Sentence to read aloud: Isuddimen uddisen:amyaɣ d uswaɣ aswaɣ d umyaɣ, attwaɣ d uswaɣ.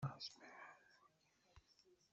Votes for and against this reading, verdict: 0, 2, rejected